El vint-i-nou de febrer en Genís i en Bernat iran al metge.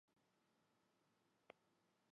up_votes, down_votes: 1, 2